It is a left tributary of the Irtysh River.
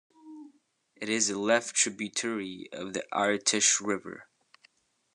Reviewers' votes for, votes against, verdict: 2, 0, accepted